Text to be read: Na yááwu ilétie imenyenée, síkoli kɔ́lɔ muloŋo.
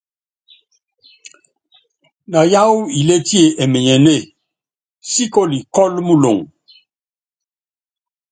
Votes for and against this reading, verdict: 2, 0, accepted